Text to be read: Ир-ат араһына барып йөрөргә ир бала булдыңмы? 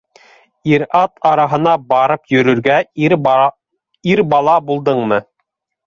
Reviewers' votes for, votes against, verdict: 0, 2, rejected